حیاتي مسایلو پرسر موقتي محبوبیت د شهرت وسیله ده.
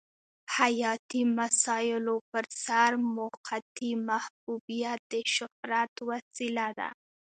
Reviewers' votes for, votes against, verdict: 2, 0, accepted